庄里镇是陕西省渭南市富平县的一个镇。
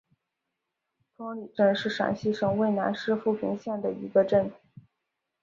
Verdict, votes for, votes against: accepted, 5, 0